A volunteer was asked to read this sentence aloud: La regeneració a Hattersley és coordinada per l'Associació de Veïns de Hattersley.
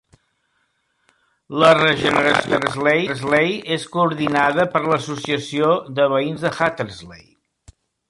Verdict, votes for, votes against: rejected, 0, 2